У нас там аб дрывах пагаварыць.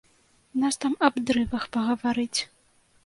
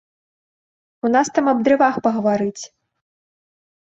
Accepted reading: second